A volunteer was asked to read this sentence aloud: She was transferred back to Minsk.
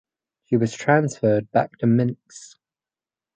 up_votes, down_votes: 2, 2